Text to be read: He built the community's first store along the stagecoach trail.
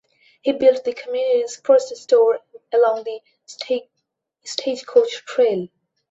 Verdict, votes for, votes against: rejected, 0, 2